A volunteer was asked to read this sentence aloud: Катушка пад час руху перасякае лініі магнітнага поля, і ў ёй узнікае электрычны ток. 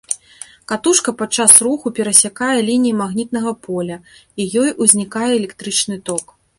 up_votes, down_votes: 0, 2